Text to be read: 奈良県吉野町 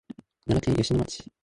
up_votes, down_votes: 0, 2